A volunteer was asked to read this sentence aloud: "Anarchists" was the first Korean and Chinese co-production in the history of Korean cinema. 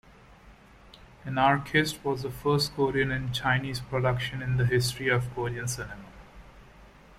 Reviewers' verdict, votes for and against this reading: rejected, 0, 2